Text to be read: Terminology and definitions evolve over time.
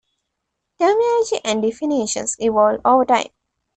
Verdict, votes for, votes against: accepted, 2, 1